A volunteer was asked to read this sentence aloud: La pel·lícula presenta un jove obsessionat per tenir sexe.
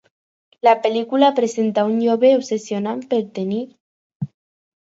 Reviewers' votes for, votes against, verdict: 0, 4, rejected